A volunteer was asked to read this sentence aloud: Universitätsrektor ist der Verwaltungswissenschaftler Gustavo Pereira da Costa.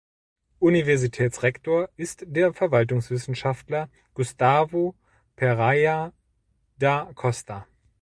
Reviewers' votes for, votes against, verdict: 1, 2, rejected